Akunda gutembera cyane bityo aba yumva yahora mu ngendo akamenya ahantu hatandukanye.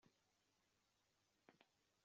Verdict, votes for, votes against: rejected, 0, 2